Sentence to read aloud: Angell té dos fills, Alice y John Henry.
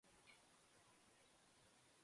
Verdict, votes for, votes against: rejected, 0, 2